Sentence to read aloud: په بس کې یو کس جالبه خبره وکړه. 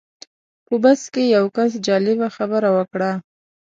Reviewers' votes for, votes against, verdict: 2, 0, accepted